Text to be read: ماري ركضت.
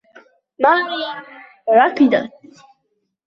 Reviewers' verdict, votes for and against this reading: accepted, 2, 1